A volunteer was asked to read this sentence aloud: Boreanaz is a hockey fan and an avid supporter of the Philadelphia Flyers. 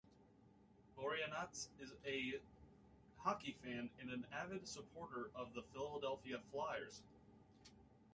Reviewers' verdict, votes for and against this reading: accepted, 2, 0